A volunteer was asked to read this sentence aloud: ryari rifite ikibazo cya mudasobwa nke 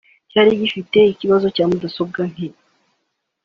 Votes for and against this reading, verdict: 2, 0, accepted